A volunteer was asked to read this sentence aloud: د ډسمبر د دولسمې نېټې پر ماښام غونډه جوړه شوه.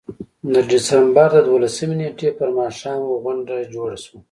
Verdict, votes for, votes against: accepted, 2, 1